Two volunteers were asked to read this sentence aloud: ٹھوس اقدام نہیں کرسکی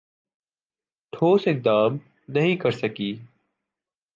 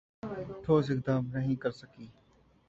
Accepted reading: first